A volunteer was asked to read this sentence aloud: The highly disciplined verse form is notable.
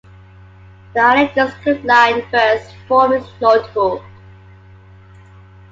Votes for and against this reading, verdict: 1, 2, rejected